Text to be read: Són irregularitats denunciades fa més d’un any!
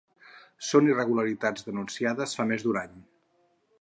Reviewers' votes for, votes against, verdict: 4, 0, accepted